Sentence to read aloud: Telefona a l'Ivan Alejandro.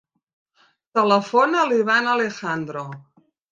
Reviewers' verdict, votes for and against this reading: accepted, 4, 0